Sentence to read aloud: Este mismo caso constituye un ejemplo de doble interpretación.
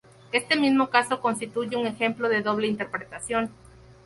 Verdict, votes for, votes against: accepted, 2, 0